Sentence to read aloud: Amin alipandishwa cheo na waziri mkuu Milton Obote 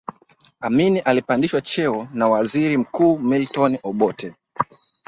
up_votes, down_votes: 3, 0